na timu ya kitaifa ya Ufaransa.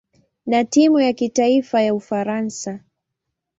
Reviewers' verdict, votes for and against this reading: accepted, 2, 0